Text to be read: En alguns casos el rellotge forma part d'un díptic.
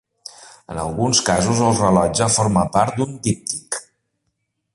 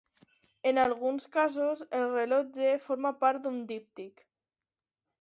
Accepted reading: second